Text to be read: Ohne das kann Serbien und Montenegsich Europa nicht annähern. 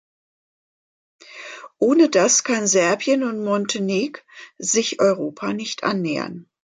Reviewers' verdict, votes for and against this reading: rejected, 0, 2